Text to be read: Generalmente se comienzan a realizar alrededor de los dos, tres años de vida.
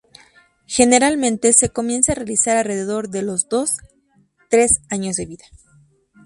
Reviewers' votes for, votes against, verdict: 4, 2, accepted